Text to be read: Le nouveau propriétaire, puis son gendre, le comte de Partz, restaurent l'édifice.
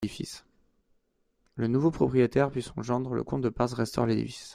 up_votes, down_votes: 1, 2